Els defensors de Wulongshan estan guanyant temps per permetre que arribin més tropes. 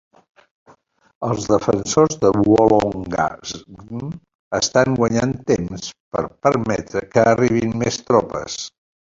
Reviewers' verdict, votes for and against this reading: rejected, 1, 2